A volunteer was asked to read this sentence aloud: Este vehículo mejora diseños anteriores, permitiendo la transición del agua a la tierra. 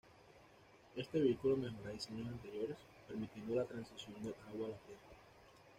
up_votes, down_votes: 1, 2